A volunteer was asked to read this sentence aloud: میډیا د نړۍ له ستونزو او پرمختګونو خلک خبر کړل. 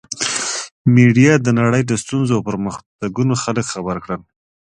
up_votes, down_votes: 2, 0